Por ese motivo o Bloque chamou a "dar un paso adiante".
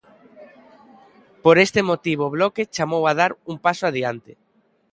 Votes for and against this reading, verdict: 0, 2, rejected